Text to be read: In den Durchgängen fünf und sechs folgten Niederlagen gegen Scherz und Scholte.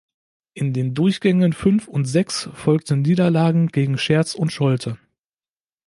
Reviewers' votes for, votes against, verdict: 2, 0, accepted